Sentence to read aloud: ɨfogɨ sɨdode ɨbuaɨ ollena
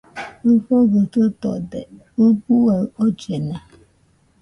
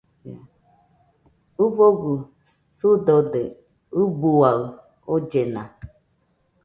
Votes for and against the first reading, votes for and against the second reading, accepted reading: 0, 2, 2, 0, second